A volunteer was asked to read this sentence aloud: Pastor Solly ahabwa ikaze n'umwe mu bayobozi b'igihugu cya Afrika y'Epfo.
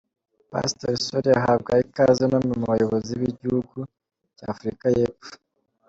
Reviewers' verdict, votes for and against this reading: accepted, 3, 1